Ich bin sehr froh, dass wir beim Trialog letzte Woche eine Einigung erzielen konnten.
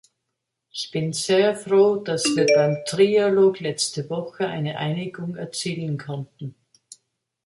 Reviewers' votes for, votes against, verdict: 2, 3, rejected